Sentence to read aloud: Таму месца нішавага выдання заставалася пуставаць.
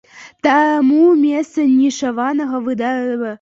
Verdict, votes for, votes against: rejected, 0, 2